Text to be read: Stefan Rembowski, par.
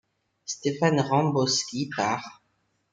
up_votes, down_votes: 2, 0